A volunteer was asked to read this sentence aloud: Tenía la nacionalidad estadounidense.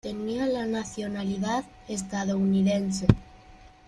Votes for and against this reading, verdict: 2, 0, accepted